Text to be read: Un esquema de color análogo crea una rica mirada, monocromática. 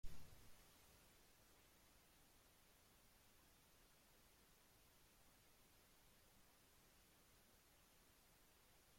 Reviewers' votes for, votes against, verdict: 0, 2, rejected